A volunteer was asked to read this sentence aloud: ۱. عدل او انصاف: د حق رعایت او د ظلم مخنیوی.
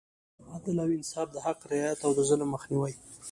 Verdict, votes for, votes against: rejected, 0, 2